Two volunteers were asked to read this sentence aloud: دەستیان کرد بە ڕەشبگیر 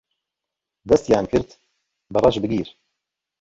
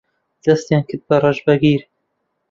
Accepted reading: first